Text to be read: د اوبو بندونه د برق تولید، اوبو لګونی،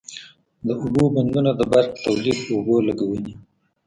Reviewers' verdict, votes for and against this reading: rejected, 1, 2